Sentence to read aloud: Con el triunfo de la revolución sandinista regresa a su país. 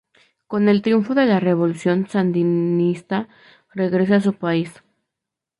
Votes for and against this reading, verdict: 2, 0, accepted